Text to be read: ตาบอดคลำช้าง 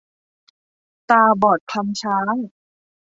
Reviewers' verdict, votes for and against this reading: accepted, 2, 0